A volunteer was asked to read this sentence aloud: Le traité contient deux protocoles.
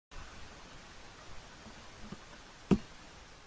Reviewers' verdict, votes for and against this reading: rejected, 0, 2